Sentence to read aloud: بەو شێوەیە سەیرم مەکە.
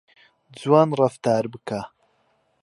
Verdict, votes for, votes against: rejected, 0, 2